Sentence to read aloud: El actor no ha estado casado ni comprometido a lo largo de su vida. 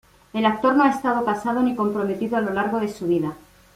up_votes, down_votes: 2, 0